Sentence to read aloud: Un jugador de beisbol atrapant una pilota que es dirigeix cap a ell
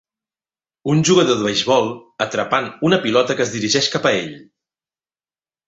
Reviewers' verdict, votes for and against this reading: accepted, 3, 0